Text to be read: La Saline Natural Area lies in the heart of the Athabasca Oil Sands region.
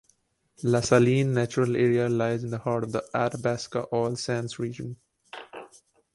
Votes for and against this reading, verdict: 2, 0, accepted